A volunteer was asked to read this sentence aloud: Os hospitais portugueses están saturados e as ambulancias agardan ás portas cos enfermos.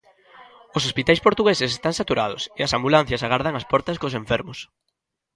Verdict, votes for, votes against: accepted, 2, 0